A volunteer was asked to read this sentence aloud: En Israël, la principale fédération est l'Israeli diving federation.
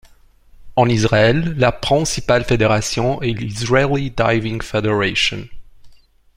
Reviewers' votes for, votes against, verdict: 2, 0, accepted